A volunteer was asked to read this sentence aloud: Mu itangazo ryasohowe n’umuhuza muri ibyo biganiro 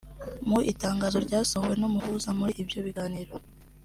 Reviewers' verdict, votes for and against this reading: accepted, 2, 0